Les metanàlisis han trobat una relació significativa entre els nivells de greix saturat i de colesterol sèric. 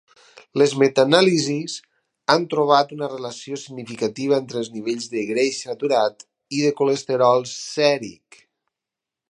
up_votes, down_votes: 4, 0